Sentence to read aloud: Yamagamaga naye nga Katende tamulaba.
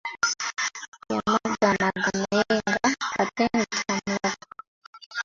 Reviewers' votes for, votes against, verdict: 0, 2, rejected